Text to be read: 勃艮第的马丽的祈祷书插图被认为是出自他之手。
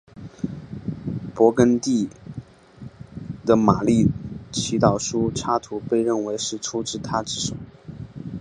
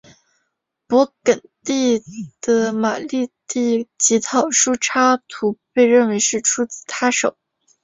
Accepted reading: first